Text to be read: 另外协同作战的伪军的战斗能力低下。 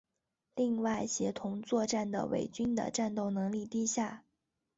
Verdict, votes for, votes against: accepted, 2, 0